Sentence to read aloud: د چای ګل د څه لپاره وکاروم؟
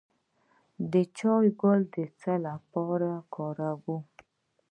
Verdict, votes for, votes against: rejected, 1, 2